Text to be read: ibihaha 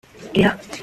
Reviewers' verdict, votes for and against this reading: rejected, 0, 2